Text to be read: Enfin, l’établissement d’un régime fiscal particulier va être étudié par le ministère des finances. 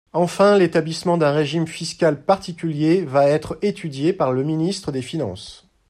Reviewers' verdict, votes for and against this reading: rejected, 0, 2